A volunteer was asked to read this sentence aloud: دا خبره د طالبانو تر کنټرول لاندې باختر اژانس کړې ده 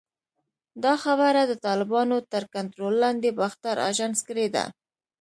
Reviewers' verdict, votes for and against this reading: accepted, 2, 0